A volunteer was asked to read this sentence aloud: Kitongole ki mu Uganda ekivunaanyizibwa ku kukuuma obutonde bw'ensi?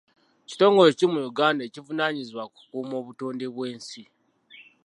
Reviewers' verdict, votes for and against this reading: accepted, 2, 1